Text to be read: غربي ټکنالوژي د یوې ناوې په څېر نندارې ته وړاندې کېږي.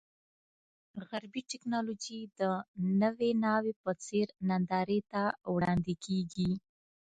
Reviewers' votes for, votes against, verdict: 1, 2, rejected